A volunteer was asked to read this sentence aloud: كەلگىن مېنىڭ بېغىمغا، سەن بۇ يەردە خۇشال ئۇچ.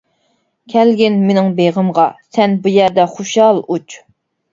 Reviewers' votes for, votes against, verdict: 5, 0, accepted